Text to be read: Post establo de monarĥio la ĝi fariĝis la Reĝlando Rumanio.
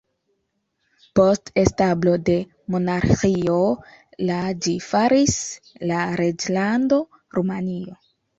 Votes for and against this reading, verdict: 1, 2, rejected